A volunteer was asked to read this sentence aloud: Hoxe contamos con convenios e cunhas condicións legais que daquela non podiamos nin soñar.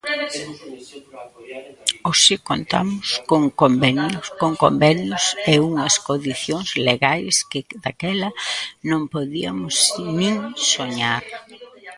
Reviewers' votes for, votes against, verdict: 1, 2, rejected